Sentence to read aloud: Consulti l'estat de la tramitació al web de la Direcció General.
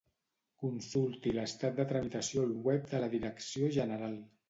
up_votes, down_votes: 1, 2